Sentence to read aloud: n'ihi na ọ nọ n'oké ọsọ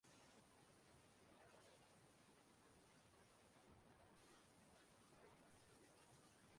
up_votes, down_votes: 0, 2